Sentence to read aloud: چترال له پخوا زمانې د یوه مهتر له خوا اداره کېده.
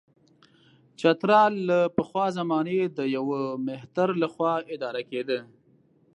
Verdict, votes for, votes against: accepted, 2, 0